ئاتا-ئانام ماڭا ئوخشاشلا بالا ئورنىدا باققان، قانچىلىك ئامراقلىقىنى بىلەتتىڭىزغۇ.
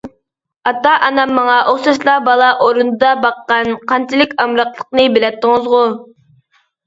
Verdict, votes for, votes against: rejected, 1, 2